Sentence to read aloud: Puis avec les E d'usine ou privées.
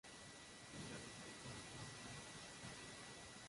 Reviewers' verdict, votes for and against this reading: rejected, 0, 2